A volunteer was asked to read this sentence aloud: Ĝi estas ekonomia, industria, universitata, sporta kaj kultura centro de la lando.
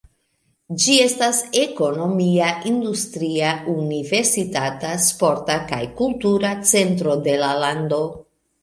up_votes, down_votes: 2, 0